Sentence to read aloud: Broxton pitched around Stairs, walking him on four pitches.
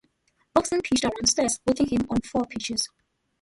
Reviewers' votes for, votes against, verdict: 0, 2, rejected